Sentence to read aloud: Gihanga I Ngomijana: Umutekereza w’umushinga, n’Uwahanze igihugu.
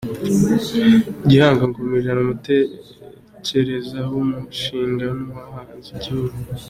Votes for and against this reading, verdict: 2, 0, accepted